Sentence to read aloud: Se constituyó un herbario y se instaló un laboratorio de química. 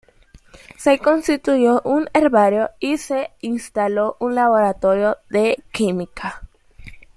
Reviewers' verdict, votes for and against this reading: accepted, 2, 1